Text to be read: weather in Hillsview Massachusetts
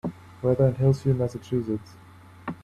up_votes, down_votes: 2, 1